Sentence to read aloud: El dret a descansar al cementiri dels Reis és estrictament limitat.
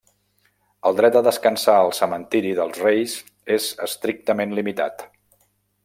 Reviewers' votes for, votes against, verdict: 3, 0, accepted